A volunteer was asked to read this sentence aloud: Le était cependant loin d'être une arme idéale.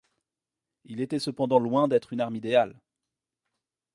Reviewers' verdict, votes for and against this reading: rejected, 1, 2